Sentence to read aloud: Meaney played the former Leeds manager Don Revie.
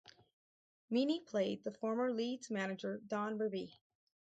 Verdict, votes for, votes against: rejected, 2, 2